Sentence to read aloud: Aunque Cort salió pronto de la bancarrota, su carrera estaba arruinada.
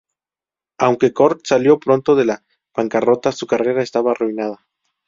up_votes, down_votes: 2, 2